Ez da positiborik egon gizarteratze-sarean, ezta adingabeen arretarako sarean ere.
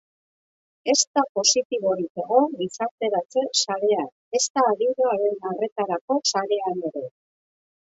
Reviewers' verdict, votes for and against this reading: rejected, 0, 2